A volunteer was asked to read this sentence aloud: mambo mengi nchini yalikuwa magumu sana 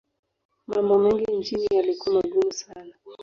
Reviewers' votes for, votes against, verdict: 1, 2, rejected